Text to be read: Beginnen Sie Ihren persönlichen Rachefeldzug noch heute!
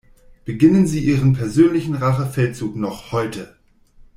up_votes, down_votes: 2, 0